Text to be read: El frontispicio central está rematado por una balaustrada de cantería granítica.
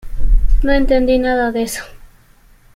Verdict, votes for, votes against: rejected, 0, 2